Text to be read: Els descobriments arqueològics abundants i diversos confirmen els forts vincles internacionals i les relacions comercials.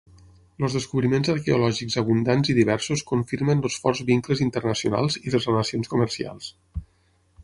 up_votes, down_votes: 3, 6